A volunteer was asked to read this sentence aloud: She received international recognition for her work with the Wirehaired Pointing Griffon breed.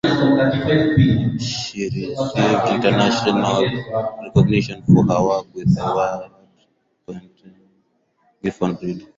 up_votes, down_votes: 0, 4